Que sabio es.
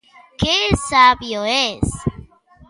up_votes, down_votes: 2, 0